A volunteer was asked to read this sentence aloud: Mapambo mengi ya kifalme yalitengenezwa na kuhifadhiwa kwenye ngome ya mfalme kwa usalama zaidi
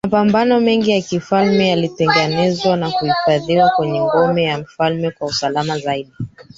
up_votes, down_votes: 1, 2